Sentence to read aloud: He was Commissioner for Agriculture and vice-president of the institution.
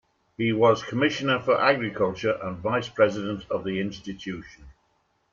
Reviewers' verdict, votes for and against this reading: accepted, 2, 1